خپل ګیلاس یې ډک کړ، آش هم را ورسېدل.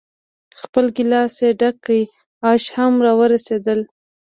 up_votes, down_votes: 2, 1